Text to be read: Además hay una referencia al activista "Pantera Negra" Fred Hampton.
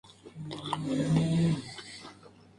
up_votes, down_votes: 0, 2